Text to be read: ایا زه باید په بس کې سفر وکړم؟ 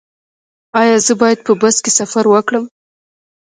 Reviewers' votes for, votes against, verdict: 1, 2, rejected